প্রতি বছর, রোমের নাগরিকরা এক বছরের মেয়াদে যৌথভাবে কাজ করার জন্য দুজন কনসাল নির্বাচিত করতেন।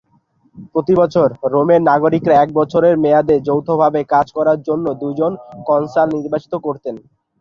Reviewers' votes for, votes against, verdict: 5, 0, accepted